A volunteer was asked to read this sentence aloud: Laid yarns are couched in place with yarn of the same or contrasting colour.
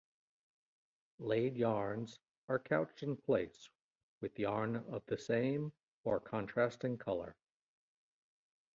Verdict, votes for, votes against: accepted, 2, 0